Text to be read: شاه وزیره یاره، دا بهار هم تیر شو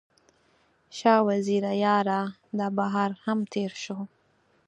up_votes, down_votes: 4, 0